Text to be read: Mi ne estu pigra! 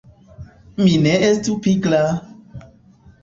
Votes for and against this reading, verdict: 2, 1, accepted